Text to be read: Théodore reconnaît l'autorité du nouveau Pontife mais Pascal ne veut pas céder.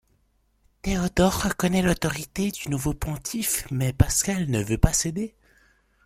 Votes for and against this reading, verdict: 2, 0, accepted